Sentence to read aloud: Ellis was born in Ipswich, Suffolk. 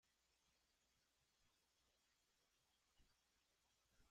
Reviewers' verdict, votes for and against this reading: rejected, 0, 2